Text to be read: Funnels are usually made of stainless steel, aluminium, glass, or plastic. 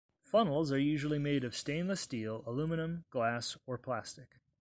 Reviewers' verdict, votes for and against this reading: accepted, 2, 0